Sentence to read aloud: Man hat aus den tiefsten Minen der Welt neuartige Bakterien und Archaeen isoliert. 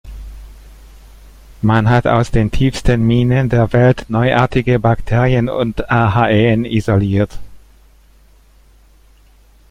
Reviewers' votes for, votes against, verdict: 1, 2, rejected